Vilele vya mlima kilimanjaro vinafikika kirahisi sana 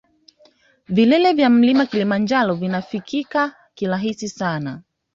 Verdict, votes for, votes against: accepted, 2, 0